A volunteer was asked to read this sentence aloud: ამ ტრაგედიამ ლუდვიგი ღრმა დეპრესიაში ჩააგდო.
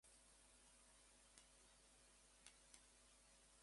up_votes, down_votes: 0, 2